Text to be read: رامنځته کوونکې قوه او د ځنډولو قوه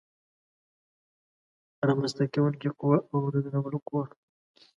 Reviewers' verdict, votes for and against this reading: rejected, 1, 2